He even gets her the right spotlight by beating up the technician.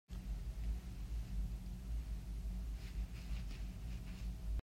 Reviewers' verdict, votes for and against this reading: rejected, 0, 2